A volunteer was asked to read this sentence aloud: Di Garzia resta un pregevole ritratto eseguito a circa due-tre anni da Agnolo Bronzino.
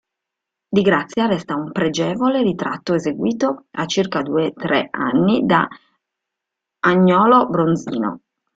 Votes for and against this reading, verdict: 1, 2, rejected